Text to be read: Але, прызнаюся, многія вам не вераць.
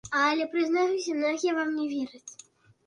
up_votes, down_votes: 1, 3